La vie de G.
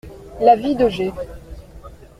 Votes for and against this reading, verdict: 2, 0, accepted